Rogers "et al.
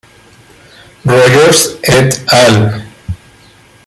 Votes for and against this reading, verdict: 2, 0, accepted